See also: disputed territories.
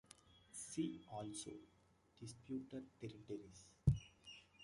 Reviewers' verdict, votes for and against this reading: rejected, 0, 2